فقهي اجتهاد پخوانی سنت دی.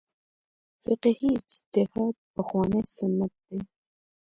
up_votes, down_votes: 0, 2